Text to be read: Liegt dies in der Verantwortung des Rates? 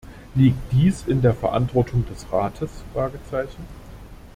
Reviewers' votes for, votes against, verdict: 0, 2, rejected